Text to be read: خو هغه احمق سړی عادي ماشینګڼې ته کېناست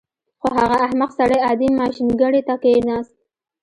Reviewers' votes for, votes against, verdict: 1, 2, rejected